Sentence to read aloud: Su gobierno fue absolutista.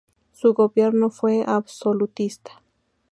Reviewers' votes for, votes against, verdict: 2, 0, accepted